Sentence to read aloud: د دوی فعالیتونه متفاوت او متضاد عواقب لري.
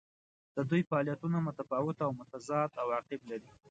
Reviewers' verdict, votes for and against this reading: accepted, 2, 0